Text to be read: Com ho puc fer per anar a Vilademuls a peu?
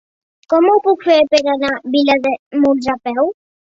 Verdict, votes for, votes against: rejected, 1, 2